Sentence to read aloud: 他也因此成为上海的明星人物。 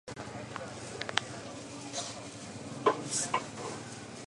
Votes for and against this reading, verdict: 0, 4, rejected